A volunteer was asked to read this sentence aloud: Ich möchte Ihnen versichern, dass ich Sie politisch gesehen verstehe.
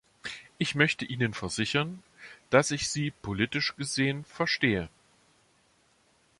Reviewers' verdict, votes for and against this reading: accepted, 2, 0